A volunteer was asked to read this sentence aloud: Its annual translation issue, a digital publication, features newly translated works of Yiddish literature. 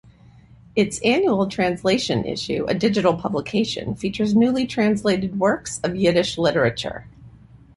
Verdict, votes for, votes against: accepted, 2, 0